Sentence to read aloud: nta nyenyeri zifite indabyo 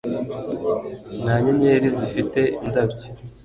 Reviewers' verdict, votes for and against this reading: accepted, 2, 0